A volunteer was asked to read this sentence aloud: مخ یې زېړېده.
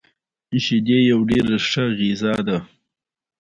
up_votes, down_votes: 2, 1